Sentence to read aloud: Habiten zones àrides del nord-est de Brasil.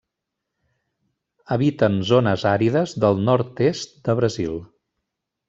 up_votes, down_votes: 3, 0